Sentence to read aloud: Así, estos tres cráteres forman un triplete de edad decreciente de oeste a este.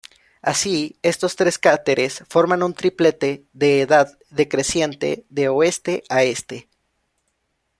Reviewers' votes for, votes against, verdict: 1, 2, rejected